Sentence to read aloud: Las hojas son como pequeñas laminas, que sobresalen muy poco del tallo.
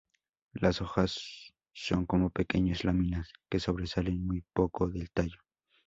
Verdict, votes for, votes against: accepted, 2, 0